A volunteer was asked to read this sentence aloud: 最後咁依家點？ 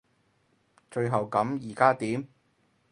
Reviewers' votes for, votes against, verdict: 2, 2, rejected